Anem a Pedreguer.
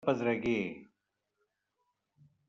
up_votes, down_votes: 0, 2